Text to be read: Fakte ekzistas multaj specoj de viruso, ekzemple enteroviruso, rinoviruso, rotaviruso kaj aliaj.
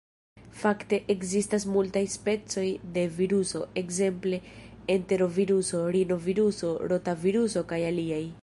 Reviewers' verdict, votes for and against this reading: rejected, 0, 2